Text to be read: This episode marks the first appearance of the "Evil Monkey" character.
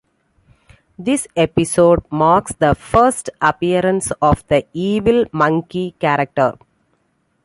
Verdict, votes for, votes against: accepted, 2, 0